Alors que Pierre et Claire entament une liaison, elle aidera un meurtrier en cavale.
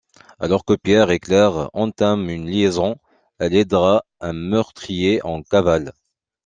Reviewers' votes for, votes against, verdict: 2, 0, accepted